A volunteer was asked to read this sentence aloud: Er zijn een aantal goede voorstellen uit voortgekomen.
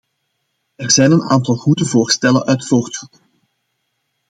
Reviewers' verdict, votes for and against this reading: rejected, 0, 2